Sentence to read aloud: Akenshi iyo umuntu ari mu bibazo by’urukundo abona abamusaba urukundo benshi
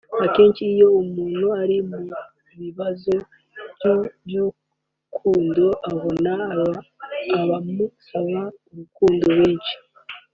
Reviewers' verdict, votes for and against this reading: rejected, 0, 3